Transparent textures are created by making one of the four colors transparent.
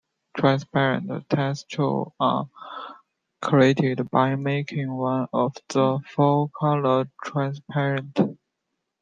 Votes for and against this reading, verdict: 0, 2, rejected